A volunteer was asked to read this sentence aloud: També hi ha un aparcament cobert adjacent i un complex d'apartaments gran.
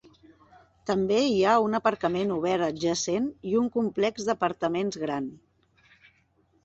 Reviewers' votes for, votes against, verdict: 2, 1, accepted